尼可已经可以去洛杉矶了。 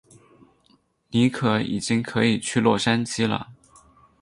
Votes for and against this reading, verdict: 8, 0, accepted